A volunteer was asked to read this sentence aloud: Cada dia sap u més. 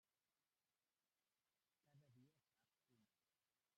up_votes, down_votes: 0, 2